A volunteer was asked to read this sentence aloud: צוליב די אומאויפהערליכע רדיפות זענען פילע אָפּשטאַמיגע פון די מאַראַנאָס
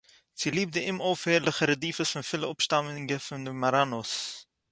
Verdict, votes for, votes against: rejected, 2, 6